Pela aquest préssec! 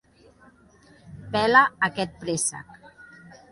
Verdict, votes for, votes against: accepted, 2, 1